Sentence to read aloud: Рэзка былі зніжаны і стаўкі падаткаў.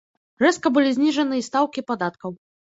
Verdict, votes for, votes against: accepted, 2, 0